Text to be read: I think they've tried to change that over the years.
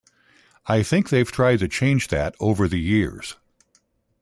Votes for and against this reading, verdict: 2, 0, accepted